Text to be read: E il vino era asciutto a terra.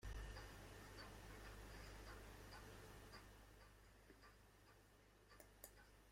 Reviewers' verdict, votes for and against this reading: rejected, 0, 2